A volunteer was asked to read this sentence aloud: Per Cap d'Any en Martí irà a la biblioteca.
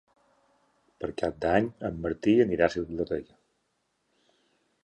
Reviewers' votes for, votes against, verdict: 1, 3, rejected